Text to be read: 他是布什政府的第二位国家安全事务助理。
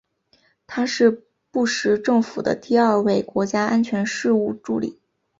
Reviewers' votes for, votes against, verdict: 8, 0, accepted